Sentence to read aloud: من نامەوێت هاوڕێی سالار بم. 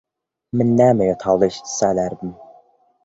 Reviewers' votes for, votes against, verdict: 0, 3, rejected